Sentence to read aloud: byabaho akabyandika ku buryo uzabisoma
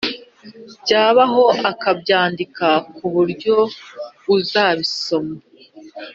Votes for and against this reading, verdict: 2, 0, accepted